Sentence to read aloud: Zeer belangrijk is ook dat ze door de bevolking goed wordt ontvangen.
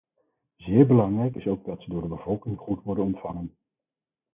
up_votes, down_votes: 2, 4